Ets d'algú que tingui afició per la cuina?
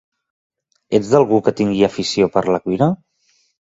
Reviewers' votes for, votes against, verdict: 2, 0, accepted